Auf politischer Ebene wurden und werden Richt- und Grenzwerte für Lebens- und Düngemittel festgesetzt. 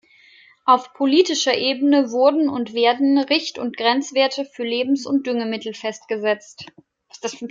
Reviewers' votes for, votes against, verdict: 1, 2, rejected